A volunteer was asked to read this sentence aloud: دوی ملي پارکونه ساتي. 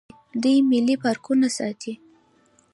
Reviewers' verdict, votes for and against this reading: accepted, 2, 1